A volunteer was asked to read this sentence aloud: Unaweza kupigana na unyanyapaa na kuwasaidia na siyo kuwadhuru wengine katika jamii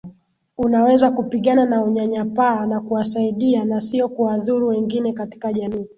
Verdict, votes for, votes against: accepted, 14, 0